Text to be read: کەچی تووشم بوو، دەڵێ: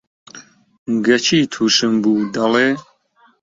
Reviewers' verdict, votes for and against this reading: rejected, 0, 2